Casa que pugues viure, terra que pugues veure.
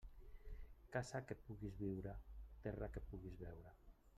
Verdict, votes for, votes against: rejected, 0, 2